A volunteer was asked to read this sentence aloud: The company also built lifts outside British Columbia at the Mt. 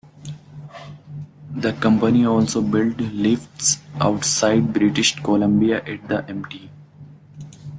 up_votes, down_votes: 2, 1